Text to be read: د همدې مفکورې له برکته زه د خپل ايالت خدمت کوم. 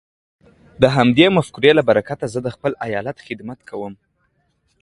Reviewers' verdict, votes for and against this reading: accepted, 2, 1